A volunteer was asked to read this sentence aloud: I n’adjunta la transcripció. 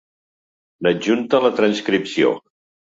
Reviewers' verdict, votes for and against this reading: rejected, 0, 2